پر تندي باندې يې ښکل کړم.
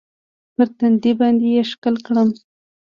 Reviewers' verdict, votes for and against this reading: accepted, 2, 0